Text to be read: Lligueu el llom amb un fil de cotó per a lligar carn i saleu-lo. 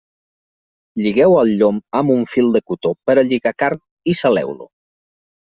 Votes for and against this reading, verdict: 2, 0, accepted